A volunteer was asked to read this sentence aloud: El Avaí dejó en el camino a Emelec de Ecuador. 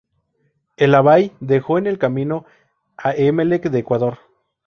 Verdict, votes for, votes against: rejected, 0, 2